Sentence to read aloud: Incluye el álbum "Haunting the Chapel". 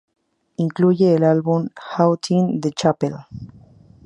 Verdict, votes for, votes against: accepted, 2, 0